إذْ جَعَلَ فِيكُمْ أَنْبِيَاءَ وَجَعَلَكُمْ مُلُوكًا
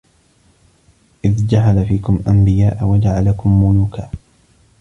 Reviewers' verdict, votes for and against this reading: rejected, 1, 2